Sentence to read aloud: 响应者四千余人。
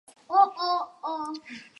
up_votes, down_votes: 1, 2